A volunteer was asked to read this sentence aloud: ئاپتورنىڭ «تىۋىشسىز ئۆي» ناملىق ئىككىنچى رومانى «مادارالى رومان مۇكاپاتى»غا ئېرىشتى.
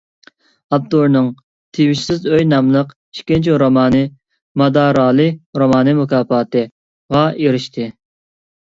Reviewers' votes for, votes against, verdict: 2, 0, accepted